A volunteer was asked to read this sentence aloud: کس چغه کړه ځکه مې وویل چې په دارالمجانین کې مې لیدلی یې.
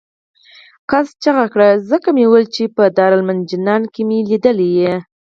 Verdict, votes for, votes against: rejected, 2, 4